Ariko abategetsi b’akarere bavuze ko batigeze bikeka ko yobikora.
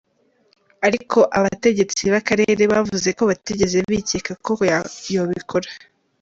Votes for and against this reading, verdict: 1, 2, rejected